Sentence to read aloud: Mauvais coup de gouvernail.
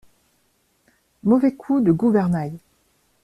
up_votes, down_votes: 2, 0